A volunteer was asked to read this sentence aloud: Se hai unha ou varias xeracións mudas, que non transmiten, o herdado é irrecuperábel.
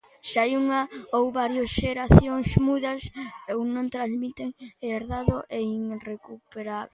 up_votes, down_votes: 0, 2